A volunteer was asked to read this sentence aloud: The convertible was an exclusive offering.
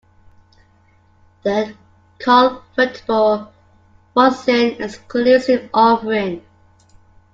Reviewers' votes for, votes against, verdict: 0, 2, rejected